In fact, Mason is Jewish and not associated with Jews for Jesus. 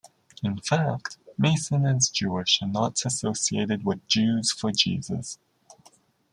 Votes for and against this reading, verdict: 2, 0, accepted